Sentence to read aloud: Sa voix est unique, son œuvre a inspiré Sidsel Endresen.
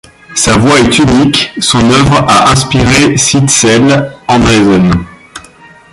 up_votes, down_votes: 0, 2